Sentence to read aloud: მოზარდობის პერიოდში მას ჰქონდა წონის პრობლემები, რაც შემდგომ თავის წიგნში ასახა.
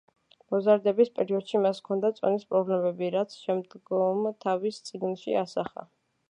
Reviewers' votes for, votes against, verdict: 1, 2, rejected